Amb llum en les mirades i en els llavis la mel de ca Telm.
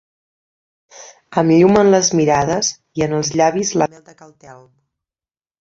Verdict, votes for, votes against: rejected, 0, 2